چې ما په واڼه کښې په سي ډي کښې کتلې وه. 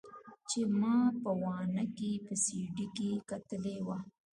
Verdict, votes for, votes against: accepted, 2, 1